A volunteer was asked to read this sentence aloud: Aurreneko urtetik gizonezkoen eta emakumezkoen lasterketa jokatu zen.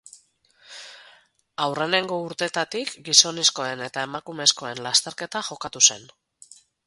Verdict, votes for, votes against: rejected, 2, 2